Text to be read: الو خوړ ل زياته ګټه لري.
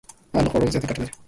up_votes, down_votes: 0, 2